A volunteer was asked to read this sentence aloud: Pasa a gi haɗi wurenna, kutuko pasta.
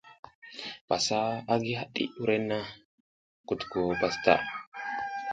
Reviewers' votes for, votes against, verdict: 1, 2, rejected